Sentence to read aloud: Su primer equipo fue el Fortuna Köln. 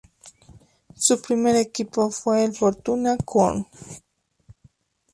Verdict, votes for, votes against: accepted, 2, 0